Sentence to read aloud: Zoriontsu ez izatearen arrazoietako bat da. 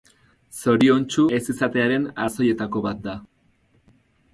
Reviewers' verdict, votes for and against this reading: rejected, 2, 2